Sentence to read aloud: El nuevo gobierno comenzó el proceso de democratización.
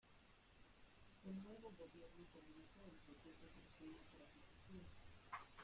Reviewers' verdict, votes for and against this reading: rejected, 0, 2